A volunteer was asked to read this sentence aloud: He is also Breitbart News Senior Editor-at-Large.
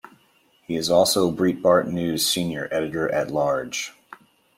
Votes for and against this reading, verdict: 1, 2, rejected